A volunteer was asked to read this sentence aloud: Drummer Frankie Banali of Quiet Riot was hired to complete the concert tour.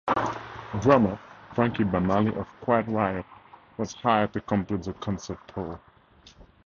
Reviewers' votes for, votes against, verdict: 0, 2, rejected